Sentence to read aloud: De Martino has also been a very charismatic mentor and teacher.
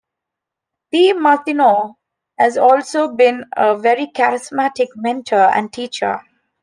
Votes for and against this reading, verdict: 2, 0, accepted